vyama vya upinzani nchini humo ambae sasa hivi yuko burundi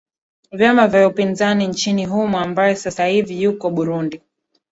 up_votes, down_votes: 2, 1